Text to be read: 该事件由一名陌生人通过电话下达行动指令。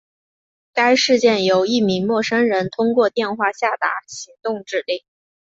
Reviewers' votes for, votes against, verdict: 2, 0, accepted